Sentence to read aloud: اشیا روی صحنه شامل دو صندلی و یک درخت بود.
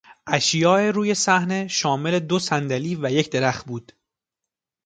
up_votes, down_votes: 2, 0